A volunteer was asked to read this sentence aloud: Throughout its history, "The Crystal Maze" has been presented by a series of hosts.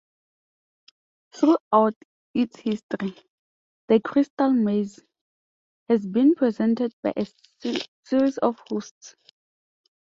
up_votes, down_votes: 1, 2